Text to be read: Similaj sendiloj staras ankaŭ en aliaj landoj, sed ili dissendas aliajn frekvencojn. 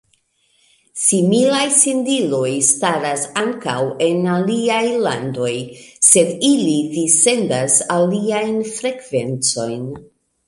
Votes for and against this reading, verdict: 2, 0, accepted